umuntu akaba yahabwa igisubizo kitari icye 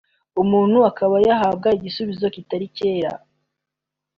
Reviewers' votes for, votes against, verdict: 2, 1, accepted